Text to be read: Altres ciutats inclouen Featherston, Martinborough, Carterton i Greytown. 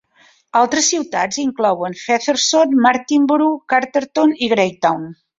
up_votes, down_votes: 2, 0